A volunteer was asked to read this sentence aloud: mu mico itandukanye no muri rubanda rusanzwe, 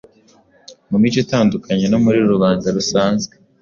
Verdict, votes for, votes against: accepted, 2, 0